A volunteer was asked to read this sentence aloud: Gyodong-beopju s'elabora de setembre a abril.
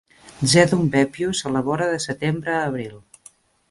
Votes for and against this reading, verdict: 1, 2, rejected